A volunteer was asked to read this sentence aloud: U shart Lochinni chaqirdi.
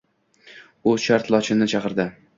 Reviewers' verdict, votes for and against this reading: accepted, 2, 1